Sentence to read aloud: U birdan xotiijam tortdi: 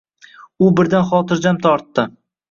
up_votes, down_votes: 2, 0